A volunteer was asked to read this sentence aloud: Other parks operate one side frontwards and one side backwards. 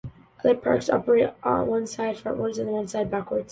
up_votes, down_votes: 1, 2